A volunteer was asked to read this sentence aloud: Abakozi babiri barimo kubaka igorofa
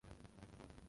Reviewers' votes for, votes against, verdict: 0, 2, rejected